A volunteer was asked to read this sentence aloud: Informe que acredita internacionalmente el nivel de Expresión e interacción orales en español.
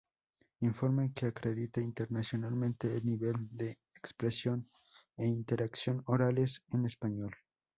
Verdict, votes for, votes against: rejected, 0, 2